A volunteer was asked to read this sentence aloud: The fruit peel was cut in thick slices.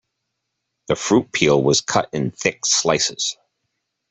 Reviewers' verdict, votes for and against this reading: accepted, 2, 0